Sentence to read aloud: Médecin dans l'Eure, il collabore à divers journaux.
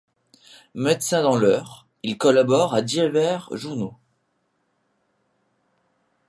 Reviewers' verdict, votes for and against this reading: rejected, 0, 2